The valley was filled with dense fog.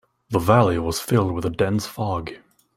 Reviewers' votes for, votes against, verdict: 2, 3, rejected